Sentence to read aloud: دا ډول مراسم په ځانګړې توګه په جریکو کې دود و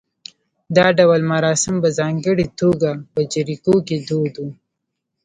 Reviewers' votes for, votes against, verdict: 2, 1, accepted